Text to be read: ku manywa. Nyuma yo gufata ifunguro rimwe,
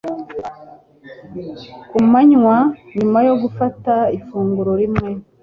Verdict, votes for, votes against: accepted, 2, 0